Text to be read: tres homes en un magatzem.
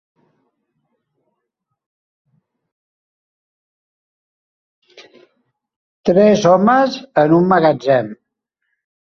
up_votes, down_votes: 1, 2